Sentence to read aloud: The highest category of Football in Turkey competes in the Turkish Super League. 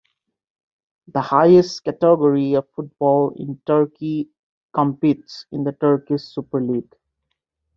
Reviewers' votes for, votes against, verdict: 2, 0, accepted